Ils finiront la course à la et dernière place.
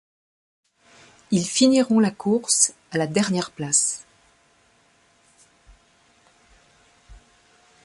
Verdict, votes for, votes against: rejected, 0, 2